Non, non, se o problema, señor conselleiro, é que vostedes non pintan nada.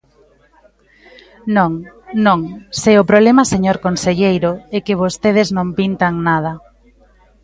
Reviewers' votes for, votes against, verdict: 3, 1, accepted